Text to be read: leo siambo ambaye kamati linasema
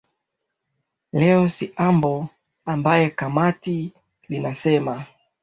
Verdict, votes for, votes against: accepted, 2, 0